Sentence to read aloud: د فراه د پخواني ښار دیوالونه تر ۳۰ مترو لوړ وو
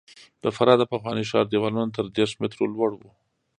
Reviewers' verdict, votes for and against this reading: rejected, 0, 2